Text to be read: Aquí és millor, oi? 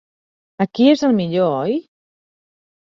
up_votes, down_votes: 1, 2